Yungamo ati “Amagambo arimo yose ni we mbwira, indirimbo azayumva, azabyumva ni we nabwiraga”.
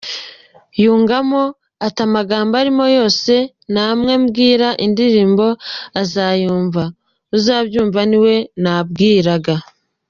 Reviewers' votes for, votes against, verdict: 0, 2, rejected